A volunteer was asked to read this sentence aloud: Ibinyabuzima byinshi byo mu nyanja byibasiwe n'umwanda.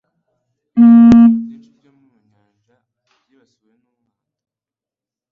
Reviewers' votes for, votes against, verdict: 1, 2, rejected